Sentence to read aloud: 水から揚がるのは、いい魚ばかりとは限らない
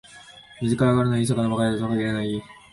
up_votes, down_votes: 0, 2